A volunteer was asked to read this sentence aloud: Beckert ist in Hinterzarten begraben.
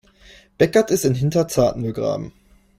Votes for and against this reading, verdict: 2, 0, accepted